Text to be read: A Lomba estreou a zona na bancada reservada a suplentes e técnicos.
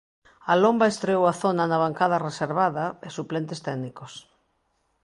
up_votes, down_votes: 1, 2